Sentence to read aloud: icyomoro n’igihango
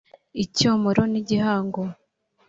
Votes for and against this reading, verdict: 2, 0, accepted